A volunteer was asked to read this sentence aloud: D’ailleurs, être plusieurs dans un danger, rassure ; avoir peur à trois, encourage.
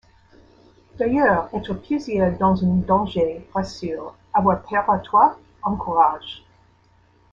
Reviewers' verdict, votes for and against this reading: rejected, 0, 2